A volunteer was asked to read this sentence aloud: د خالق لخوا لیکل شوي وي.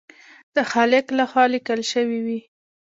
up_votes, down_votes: 2, 0